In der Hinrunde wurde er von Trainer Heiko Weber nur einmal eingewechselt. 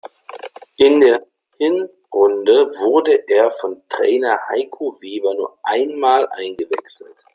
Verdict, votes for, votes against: rejected, 1, 2